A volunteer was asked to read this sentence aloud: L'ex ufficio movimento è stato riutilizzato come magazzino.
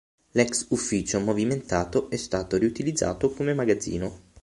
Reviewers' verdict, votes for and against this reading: rejected, 0, 6